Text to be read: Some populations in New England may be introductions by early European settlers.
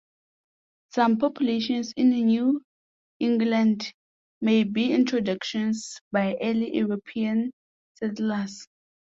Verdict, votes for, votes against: accepted, 2, 1